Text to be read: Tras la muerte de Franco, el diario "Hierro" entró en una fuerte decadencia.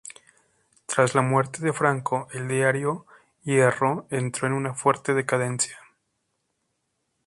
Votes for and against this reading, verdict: 2, 0, accepted